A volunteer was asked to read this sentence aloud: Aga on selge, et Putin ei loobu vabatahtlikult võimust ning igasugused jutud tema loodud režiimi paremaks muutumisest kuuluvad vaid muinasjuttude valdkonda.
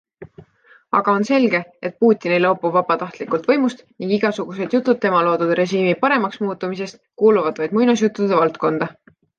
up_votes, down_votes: 2, 0